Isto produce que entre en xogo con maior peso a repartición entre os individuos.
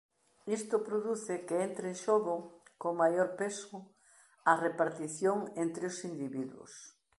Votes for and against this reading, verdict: 3, 0, accepted